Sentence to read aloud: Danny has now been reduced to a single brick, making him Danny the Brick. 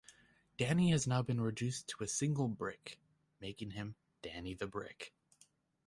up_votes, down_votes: 2, 0